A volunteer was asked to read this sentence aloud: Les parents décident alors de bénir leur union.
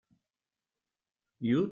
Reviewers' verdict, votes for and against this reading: rejected, 0, 2